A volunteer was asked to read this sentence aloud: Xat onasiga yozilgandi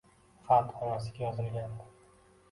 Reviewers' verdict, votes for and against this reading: rejected, 0, 2